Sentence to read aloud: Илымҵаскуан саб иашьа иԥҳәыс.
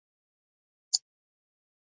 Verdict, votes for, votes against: rejected, 1, 2